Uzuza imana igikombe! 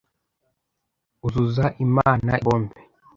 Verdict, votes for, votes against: rejected, 0, 2